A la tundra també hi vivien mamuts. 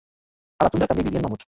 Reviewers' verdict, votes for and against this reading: rejected, 0, 2